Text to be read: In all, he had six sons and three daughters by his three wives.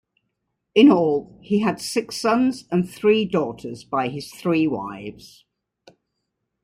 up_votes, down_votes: 2, 1